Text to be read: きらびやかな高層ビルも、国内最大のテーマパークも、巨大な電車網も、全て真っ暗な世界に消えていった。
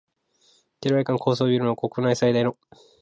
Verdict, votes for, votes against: rejected, 0, 2